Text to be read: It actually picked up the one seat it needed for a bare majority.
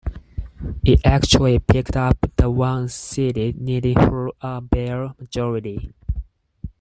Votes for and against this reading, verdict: 4, 0, accepted